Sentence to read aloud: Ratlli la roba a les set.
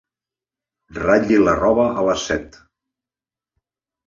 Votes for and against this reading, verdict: 2, 0, accepted